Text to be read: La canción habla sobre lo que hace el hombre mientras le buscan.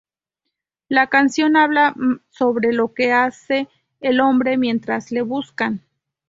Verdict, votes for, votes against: rejected, 0, 2